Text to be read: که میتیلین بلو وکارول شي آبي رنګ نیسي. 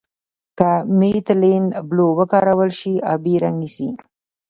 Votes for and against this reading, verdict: 1, 2, rejected